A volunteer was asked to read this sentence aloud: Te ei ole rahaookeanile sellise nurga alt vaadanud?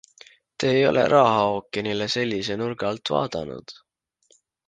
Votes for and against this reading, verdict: 2, 0, accepted